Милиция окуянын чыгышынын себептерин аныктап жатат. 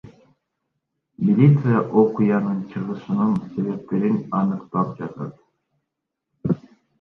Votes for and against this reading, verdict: 1, 2, rejected